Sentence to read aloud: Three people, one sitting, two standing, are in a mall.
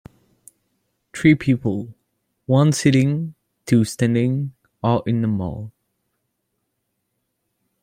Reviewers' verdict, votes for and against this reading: accepted, 2, 0